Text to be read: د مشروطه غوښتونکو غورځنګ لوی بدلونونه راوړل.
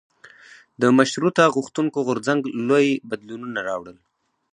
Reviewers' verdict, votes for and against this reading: rejected, 0, 2